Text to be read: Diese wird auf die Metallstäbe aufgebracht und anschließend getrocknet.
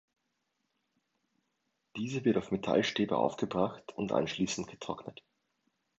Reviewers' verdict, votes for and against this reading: rejected, 0, 2